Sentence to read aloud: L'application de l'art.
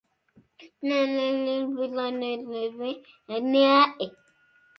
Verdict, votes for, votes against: rejected, 0, 2